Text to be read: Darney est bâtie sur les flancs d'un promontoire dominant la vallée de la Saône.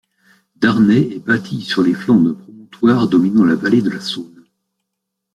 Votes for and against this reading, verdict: 0, 2, rejected